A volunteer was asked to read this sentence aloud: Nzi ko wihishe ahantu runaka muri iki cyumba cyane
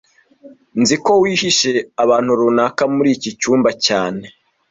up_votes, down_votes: 1, 2